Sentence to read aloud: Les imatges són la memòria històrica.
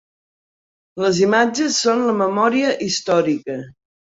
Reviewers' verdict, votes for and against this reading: accepted, 3, 0